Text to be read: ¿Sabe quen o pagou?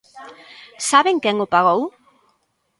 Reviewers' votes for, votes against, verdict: 0, 2, rejected